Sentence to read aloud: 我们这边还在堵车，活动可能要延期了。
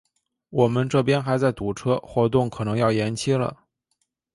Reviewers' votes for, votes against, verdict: 2, 0, accepted